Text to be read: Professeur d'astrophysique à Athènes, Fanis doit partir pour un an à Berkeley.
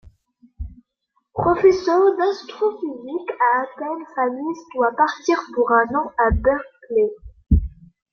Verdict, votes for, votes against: rejected, 1, 2